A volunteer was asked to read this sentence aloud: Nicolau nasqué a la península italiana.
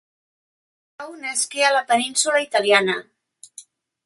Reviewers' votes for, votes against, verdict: 0, 2, rejected